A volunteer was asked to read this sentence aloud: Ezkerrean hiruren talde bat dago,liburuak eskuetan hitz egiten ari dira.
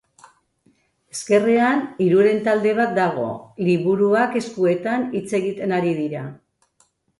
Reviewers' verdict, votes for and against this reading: accepted, 2, 0